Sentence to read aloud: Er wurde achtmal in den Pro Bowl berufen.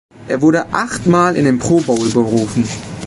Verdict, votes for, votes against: accepted, 3, 0